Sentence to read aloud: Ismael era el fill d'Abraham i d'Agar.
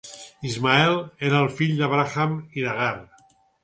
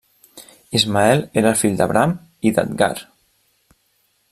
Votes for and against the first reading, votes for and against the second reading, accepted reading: 4, 0, 0, 2, first